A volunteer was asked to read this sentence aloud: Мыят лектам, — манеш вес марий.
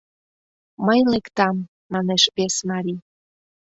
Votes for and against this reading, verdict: 0, 2, rejected